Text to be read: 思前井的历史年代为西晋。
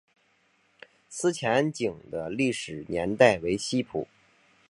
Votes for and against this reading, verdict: 0, 4, rejected